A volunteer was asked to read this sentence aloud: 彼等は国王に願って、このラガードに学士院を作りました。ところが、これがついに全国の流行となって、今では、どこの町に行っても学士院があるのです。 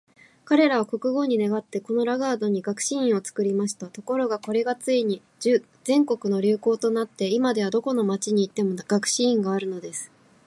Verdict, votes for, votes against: accepted, 6, 2